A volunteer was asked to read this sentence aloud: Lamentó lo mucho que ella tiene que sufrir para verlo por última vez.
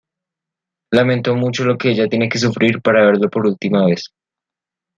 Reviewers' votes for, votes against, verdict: 1, 2, rejected